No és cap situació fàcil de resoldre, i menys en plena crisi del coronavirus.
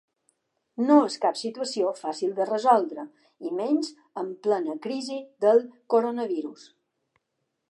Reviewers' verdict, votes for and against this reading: accepted, 3, 0